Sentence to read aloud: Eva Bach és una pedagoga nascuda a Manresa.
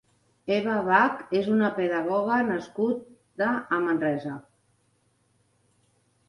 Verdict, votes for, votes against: rejected, 0, 2